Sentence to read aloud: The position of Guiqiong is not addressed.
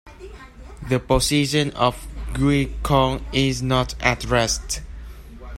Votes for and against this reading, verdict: 0, 2, rejected